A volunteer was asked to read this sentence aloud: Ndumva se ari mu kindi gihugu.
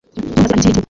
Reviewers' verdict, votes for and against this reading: rejected, 1, 2